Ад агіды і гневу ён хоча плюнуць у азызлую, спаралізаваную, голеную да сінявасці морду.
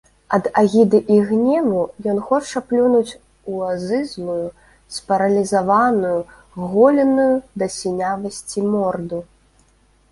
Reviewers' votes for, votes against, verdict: 2, 0, accepted